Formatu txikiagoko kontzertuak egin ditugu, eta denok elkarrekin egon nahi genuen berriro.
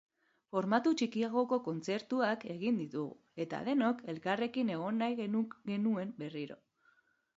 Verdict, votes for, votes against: rejected, 1, 5